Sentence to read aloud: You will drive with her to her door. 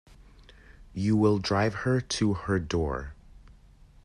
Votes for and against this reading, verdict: 2, 1, accepted